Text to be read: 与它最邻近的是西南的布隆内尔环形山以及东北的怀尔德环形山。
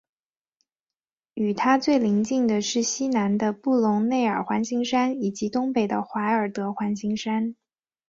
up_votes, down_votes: 2, 1